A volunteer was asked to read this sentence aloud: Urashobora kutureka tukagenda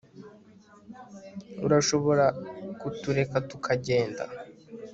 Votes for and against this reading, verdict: 2, 0, accepted